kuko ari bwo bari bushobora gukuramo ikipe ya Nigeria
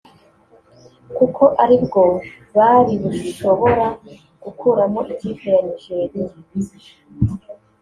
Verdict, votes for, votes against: rejected, 1, 2